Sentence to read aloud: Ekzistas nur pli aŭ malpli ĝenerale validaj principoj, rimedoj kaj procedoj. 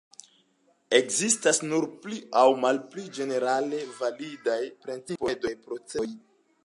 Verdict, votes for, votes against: rejected, 1, 2